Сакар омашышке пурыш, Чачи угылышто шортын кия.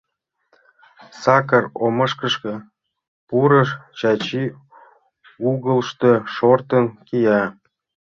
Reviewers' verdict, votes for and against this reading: rejected, 0, 2